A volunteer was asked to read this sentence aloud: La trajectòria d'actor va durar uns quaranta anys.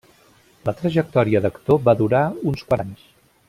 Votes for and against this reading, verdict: 0, 2, rejected